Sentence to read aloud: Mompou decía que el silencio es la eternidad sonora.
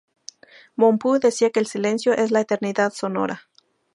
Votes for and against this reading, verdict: 2, 0, accepted